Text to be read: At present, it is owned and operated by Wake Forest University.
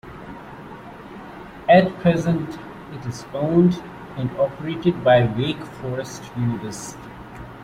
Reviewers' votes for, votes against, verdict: 2, 0, accepted